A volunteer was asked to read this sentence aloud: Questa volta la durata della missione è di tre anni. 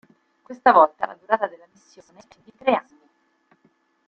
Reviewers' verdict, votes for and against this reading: rejected, 0, 2